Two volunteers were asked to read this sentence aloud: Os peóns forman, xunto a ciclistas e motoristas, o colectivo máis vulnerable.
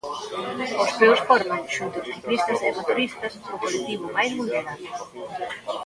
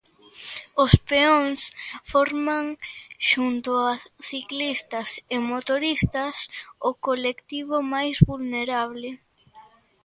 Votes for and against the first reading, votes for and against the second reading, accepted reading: 0, 2, 2, 0, second